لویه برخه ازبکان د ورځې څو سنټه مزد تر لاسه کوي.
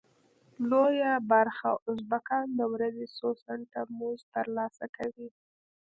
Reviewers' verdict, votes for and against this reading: accepted, 2, 0